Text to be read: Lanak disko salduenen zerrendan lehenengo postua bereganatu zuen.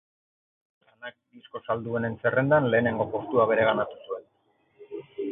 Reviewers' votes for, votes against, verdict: 0, 4, rejected